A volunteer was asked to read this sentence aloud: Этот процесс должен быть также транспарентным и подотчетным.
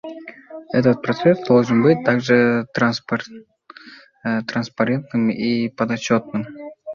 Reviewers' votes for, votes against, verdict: 1, 2, rejected